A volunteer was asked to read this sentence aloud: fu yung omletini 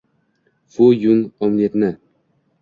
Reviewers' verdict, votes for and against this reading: rejected, 1, 2